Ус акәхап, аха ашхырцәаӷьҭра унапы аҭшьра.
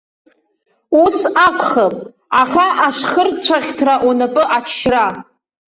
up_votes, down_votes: 2, 0